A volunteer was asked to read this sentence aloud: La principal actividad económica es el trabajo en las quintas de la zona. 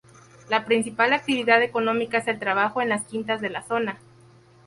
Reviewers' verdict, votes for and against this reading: accepted, 2, 0